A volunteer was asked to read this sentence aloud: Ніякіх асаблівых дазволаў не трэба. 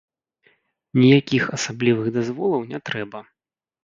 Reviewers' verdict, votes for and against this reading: rejected, 0, 2